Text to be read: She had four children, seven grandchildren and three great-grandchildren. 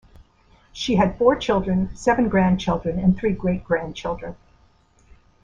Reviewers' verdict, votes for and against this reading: accepted, 2, 0